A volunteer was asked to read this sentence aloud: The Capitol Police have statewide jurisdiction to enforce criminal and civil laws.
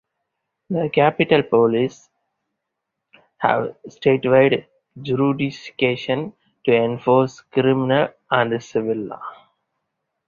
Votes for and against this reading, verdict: 2, 4, rejected